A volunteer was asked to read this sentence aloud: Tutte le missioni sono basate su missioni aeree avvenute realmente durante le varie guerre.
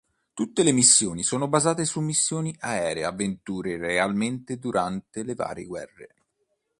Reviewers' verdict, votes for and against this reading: rejected, 0, 2